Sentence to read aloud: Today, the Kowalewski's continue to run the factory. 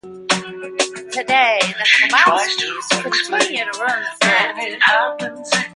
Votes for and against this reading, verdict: 0, 2, rejected